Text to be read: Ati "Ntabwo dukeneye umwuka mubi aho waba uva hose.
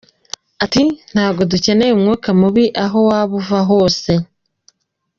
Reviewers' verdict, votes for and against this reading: accepted, 2, 1